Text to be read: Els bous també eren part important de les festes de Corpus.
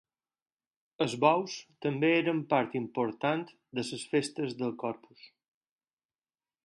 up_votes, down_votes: 2, 4